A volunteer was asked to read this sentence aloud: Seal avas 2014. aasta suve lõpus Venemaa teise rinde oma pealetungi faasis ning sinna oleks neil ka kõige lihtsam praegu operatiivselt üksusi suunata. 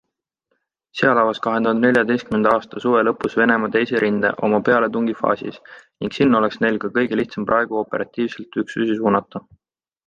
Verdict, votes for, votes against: rejected, 0, 2